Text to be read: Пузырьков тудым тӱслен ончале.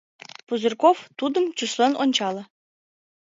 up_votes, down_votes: 2, 0